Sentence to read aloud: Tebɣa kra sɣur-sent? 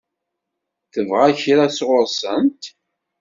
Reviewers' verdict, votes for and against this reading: accepted, 2, 0